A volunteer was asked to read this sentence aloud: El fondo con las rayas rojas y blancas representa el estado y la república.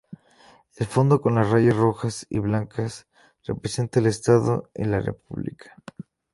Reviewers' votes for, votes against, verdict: 2, 0, accepted